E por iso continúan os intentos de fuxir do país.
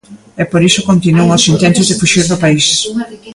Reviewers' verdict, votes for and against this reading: rejected, 0, 2